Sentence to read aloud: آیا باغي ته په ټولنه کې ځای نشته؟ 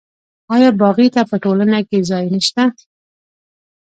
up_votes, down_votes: 2, 0